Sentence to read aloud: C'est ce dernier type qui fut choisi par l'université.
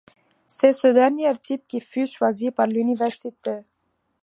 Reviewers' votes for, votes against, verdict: 2, 0, accepted